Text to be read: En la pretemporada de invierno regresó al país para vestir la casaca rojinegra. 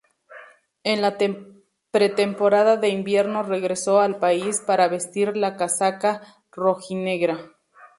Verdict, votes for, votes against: accepted, 2, 0